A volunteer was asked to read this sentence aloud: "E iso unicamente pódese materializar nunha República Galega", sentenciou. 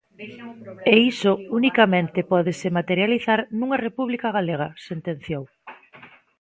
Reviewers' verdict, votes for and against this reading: rejected, 1, 2